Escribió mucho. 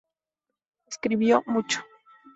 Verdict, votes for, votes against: accepted, 4, 0